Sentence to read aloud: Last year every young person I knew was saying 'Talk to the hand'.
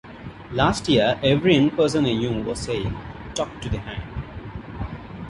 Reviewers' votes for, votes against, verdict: 0, 2, rejected